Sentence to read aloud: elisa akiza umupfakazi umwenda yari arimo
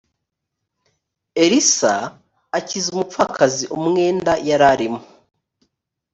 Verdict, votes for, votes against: rejected, 1, 2